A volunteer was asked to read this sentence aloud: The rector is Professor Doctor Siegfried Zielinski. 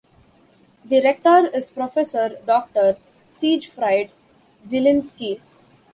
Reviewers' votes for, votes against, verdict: 1, 2, rejected